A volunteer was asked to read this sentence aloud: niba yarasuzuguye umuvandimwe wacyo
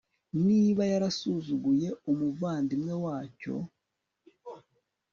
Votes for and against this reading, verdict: 2, 0, accepted